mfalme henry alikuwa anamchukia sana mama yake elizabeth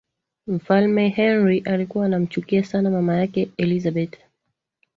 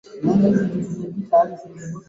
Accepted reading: first